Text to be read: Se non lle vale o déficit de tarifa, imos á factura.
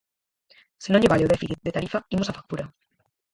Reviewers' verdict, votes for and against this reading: rejected, 0, 4